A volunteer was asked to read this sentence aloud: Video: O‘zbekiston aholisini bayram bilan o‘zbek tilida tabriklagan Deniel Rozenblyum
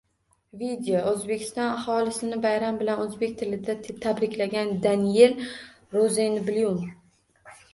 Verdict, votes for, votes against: rejected, 1, 2